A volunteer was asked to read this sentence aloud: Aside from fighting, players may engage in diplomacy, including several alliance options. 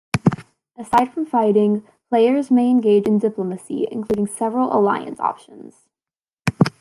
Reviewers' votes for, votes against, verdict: 2, 1, accepted